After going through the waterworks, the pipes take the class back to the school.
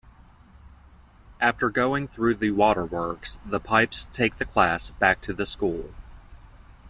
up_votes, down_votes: 2, 0